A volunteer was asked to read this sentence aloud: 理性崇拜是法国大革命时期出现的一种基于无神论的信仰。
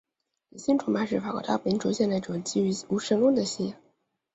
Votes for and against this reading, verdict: 0, 2, rejected